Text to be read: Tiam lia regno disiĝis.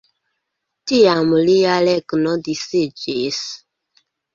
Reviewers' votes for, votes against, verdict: 2, 0, accepted